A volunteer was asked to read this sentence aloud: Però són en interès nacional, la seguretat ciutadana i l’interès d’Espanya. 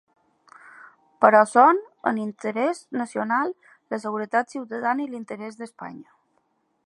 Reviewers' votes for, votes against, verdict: 0, 2, rejected